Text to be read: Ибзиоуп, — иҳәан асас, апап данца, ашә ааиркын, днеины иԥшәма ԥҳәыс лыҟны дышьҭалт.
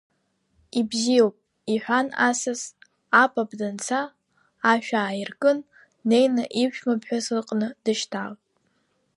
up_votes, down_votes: 1, 2